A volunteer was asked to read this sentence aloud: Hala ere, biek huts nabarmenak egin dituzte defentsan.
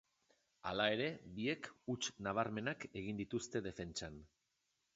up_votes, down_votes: 3, 0